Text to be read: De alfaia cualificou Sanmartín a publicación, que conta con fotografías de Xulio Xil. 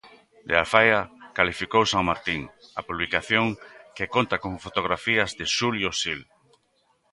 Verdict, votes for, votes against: accepted, 2, 0